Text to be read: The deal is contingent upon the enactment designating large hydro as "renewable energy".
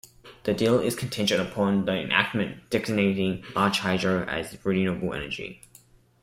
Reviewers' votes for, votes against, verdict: 2, 0, accepted